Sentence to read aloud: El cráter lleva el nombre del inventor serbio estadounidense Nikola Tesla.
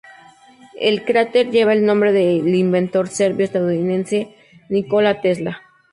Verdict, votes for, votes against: accepted, 2, 0